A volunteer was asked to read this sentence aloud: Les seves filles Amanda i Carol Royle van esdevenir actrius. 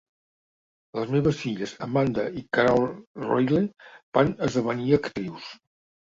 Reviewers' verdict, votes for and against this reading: rejected, 0, 2